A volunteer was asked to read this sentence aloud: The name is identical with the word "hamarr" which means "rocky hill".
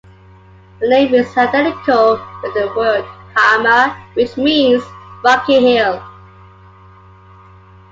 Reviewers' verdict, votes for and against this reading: accepted, 2, 0